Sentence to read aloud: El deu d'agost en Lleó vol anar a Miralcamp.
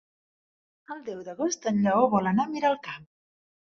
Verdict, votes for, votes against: accepted, 2, 0